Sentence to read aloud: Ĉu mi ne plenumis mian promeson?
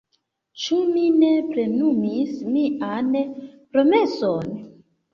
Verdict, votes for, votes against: accepted, 2, 1